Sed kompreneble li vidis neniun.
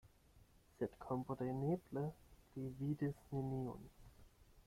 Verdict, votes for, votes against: accepted, 8, 0